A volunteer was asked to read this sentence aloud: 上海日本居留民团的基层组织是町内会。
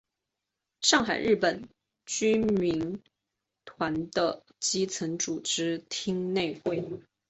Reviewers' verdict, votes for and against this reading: rejected, 0, 2